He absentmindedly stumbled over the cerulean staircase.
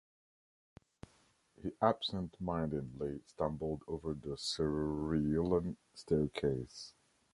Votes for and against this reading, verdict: 0, 3, rejected